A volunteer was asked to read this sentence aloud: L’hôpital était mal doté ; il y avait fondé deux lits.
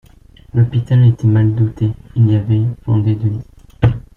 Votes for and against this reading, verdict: 0, 2, rejected